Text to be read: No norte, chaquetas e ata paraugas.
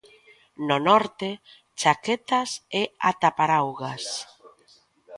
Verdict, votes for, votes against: accepted, 2, 0